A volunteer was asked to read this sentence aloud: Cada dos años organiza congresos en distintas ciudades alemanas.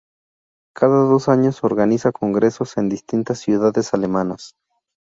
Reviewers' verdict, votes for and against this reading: rejected, 0, 2